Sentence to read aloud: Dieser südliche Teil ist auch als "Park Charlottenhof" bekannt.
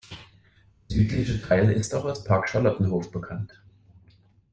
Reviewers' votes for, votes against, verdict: 1, 2, rejected